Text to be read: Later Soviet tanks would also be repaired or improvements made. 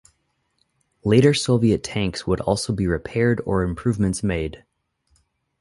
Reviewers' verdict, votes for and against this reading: accepted, 4, 0